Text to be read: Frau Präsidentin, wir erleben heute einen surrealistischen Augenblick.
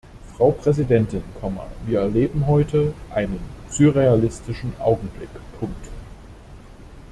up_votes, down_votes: 0, 2